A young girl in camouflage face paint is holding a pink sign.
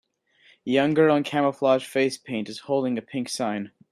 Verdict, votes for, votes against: accepted, 3, 0